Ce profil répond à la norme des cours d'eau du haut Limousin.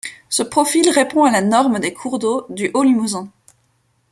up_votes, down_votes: 2, 0